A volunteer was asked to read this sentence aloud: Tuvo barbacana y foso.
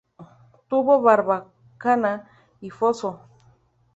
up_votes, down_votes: 2, 0